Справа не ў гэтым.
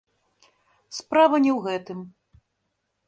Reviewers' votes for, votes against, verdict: 1, 2, rejected